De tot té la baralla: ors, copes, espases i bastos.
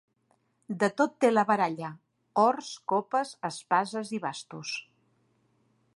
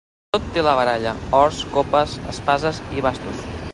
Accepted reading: first